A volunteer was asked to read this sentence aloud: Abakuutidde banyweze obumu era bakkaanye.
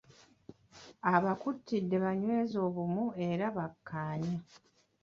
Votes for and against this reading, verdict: 0, 2, rejected